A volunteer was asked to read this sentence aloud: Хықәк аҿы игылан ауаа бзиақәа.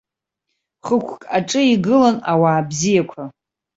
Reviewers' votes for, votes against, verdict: 2, 0, accepted